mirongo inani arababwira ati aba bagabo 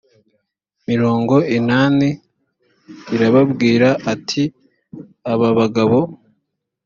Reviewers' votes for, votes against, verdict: 0, 2, rejected